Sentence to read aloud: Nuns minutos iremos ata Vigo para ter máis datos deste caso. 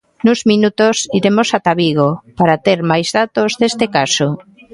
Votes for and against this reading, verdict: 2, 0, accepted